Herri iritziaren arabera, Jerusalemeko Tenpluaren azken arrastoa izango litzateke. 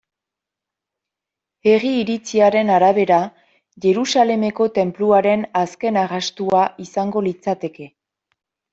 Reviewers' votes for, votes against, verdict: 2, 0, accepted